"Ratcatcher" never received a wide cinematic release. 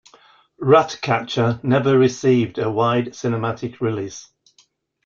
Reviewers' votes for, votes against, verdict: 2, 0, accepted